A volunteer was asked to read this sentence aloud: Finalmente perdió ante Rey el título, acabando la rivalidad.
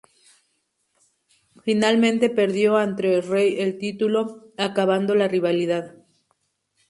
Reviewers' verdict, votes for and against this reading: accepted, 2, 0